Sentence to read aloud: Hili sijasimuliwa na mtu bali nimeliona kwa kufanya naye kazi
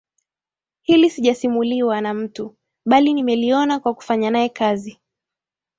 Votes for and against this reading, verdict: 2, 0, accepted